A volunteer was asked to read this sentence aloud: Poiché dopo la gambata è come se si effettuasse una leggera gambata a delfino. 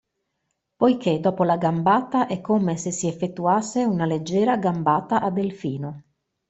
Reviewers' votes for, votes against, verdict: 2, 0, accepted